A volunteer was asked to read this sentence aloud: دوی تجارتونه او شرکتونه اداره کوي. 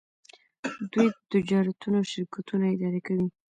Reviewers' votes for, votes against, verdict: 0, 2, rejected